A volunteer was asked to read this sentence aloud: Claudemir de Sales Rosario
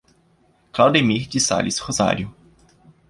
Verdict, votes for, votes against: accepted, 2, 0